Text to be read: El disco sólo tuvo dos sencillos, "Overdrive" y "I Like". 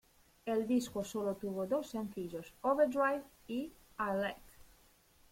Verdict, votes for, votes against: accepted, 2, 0